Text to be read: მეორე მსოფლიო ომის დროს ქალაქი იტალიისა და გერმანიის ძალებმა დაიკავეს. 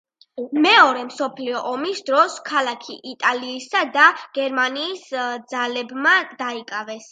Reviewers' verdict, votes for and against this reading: accepted, 2, 0